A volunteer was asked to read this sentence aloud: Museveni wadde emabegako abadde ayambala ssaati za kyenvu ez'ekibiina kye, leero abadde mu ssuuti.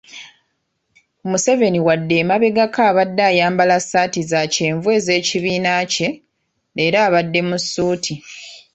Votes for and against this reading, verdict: 3, 0, accepted